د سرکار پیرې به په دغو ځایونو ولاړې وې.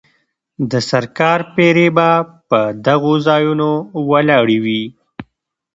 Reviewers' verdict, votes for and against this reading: accepted, 2, 0